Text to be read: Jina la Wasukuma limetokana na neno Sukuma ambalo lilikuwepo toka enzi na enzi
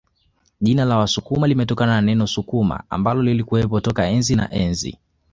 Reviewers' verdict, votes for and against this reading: accepted, 2, 0